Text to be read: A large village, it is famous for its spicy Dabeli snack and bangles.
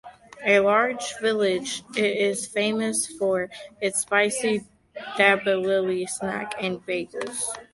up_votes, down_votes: 0, 2